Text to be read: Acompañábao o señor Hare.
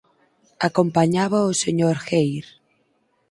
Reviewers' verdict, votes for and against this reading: accepted, 4, 0